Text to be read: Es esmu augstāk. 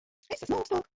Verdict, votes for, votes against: rejected, 1, 2